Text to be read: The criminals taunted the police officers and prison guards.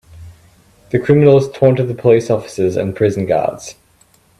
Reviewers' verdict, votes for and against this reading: accepted, 2, 0